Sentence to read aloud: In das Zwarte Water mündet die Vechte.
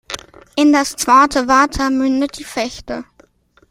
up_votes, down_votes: 2, 0